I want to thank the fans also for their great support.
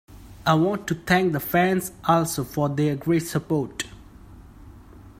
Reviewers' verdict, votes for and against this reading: accepted, 2, 0